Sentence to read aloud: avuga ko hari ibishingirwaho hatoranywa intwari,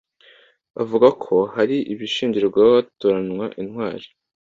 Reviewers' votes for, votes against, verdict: 2, 0, accepted